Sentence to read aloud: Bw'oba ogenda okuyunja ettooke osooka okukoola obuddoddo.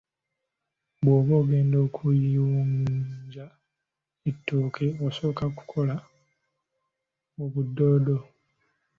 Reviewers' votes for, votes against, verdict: 1, 3, rejected